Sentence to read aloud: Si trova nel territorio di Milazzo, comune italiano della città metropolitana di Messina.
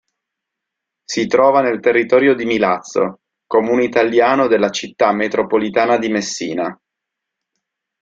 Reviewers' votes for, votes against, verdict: 3, 0, accepted